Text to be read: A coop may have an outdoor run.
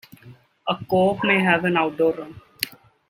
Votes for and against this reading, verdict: 2, 1, accepted